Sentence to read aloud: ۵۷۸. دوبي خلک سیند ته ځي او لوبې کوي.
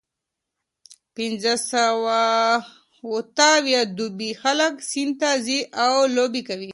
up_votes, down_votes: 0, 2